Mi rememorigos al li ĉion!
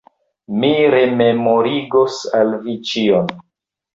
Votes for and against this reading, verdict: 1, 2, rejected